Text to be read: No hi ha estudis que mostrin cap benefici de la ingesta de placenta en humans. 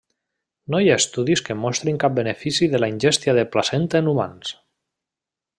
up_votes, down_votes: 0, 2